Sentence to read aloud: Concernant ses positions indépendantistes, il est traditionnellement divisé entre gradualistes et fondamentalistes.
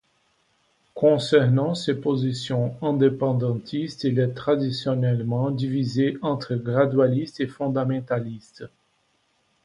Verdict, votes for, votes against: rejected, 1, 2